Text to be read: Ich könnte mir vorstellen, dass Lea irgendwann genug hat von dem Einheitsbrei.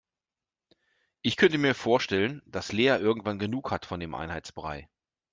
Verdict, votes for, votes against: accepted, 2, 0